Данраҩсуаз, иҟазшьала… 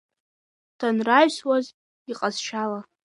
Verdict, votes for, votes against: accepted, 2, 1